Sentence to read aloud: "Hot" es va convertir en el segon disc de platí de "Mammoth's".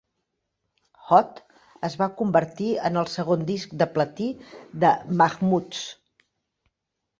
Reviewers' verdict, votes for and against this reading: rejected, 0, 2